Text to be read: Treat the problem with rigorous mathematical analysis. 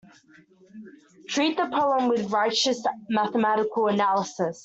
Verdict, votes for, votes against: rejected, 0, 2